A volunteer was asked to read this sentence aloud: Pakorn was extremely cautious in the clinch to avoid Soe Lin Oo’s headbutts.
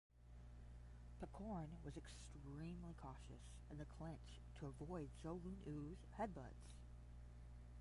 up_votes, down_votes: 0, 10